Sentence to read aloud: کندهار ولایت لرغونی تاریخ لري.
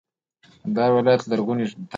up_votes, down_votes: 0, 2